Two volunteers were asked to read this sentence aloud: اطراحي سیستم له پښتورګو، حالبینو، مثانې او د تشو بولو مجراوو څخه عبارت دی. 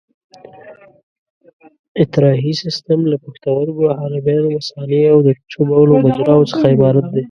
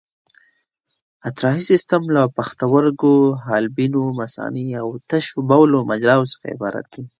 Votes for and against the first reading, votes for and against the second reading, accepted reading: 0, 2, 2, 0, second